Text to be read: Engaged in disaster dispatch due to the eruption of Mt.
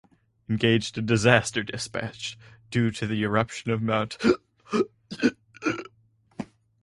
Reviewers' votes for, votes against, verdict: 0, 6, rejected